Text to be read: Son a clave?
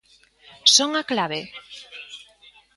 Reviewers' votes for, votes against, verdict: 2, 0, accepted